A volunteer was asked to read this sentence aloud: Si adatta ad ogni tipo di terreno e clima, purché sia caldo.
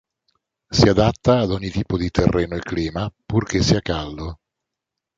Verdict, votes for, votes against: accepted, 2, 0